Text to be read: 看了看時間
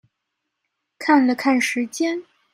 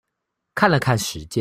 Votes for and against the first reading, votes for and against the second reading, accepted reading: 2, 0, 0, 2, first